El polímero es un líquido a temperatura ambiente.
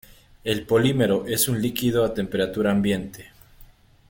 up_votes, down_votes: 2, 0